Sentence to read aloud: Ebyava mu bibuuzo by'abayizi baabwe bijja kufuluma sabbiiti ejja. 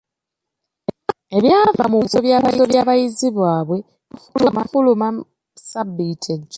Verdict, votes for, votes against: rejected, 0, 2